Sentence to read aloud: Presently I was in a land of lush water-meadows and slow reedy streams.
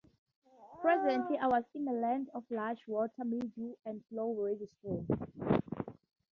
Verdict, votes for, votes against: rejected, 2, 4